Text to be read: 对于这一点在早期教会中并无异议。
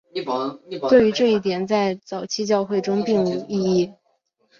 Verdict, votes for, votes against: rejected, 2, 3